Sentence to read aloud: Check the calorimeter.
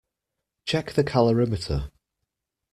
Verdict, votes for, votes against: accepted, 2, 0